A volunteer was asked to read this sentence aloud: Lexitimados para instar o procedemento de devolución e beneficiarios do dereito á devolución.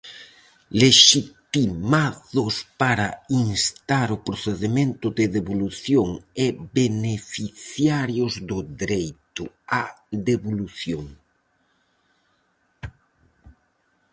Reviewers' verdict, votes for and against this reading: rejected, 0, 4